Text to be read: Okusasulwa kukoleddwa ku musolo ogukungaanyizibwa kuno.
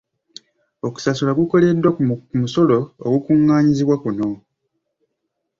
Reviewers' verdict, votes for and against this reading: accepted, 2, 1